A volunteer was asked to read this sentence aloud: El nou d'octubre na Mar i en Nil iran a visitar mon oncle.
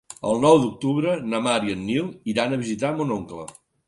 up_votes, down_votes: 3, 0